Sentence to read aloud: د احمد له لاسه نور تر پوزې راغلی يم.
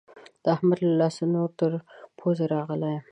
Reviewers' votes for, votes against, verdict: 2, 0, accepted